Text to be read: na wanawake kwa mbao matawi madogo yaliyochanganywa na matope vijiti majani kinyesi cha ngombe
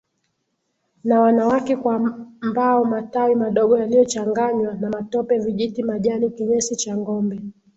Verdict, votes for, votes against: accepted, 2, 0